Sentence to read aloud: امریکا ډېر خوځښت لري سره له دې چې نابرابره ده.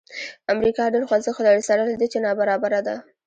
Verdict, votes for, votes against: rejected, 0, 2